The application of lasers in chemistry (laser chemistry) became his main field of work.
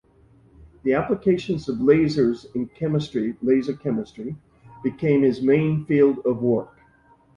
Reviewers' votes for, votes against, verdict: 2, 0, accepted